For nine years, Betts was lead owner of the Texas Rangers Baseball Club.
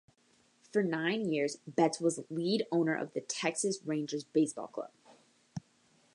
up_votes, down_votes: 3, 0